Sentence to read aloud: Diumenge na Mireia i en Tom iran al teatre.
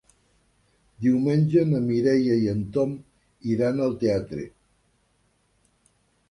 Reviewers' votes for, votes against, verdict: 2, 0, accepted